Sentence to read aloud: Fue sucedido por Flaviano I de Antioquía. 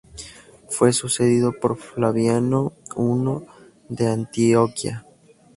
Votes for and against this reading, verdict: 0, 2, rejected